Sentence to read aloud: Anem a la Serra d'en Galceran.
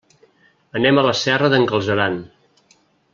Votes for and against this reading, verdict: 2, 0, accepted